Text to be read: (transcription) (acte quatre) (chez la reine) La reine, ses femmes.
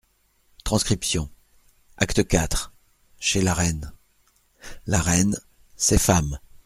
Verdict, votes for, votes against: accepted, 2, 0